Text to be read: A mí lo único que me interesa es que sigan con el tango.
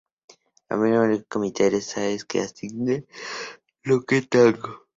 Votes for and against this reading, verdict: 0, 2, rejected